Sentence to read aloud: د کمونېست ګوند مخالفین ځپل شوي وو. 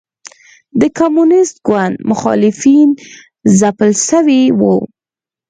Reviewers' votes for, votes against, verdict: 4, 0, accepted